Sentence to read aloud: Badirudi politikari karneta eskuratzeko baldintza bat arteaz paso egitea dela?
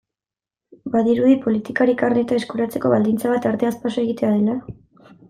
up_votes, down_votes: 2, 0